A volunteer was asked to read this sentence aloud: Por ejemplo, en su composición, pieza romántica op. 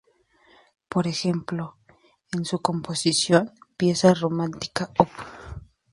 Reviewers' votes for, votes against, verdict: 2, 0, accepted